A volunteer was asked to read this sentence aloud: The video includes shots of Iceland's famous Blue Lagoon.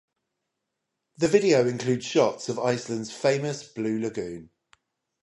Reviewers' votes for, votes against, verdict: 5, 0, accepted